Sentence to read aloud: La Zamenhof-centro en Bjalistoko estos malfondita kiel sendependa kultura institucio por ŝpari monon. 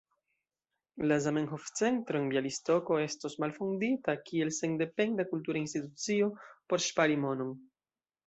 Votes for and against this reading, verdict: 0, 2, rejected